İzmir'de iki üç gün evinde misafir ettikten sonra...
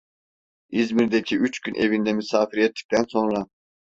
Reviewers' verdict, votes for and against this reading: rejected, 0, 2